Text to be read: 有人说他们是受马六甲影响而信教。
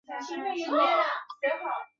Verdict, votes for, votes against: rejected, 0, 3